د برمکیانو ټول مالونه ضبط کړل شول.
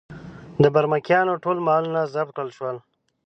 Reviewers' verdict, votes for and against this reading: accepted, 2, 0